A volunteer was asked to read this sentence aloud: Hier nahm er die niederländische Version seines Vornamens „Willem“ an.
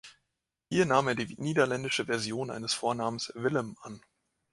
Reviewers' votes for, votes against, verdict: 0, 2, rejected